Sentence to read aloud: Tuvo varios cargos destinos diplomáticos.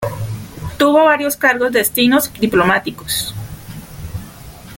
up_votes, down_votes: 3, 1